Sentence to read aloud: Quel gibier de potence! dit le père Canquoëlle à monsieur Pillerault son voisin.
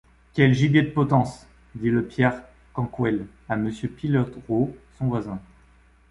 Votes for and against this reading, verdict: 1, 2, rejected